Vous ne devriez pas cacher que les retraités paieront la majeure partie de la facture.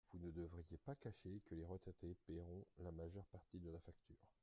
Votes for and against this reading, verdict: 2, 1, accepted